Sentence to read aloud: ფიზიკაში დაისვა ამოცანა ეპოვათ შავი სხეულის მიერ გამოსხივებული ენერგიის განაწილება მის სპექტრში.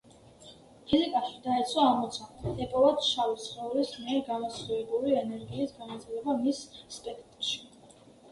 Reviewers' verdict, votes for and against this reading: rejected, 1, 2